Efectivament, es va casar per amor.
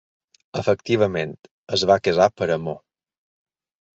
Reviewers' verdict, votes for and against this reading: accepted, 2, 0